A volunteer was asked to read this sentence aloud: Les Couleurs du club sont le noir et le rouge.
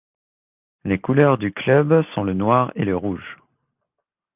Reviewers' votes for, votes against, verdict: 2, 0, accepted